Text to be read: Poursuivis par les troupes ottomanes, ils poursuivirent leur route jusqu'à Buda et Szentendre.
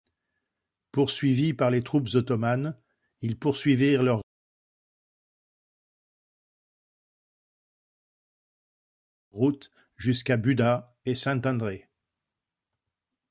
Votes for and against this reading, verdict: 0, 2, rejected